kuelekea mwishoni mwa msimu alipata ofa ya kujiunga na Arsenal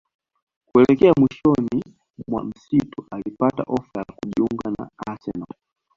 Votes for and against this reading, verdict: 2, 1, accepted